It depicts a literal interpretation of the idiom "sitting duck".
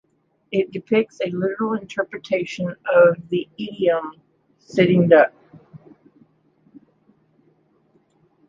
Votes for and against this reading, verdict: 2, 0, accepted